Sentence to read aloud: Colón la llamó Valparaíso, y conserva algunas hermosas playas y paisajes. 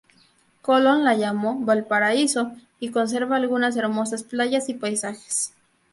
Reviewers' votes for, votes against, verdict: 4, 0, accepted